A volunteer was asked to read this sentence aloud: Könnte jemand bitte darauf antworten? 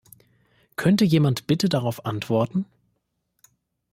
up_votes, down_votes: 2, 0